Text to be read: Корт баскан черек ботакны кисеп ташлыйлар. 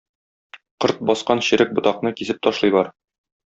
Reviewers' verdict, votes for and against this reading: accepted, 2, 0